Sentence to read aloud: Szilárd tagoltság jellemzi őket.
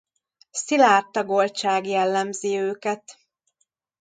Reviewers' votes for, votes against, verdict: 2, 1, accepted